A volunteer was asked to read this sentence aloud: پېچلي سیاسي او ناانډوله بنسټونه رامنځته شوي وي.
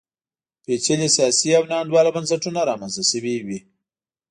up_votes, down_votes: 2, 0